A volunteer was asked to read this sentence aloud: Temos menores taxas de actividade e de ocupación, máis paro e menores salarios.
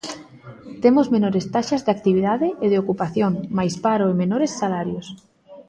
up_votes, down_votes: 4, 0